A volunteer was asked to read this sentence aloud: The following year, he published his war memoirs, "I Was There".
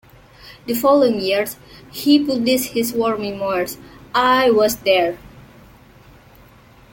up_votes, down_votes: 2, 0